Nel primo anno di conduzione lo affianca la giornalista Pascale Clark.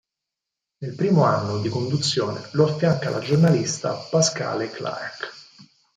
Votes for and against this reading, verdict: 4, 0, accepted